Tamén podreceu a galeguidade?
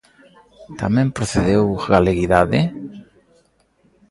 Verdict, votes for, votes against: rejected, 0, 2